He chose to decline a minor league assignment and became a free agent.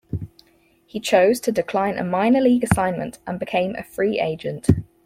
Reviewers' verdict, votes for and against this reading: accepted, 4, 0